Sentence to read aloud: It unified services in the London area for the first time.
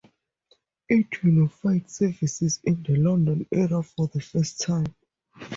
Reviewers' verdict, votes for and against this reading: rejected, 0, 2